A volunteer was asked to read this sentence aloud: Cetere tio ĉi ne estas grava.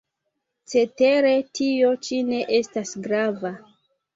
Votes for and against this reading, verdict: 1, 3, rejected